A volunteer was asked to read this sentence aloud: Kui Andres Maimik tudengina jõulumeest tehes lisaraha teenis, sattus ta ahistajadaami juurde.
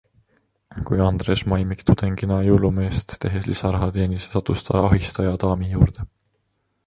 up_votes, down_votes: 2, 0